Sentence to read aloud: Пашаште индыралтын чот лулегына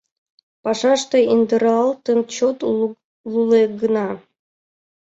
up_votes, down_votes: 0, 2